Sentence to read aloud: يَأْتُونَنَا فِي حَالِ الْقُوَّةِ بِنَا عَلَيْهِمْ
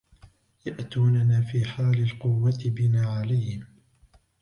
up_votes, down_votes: 2, 1